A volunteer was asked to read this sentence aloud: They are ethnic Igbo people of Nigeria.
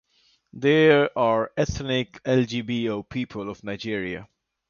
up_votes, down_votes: 0, 2